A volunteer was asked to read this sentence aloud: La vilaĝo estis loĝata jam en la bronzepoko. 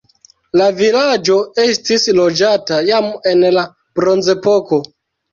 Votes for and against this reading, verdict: 1, 2, rejected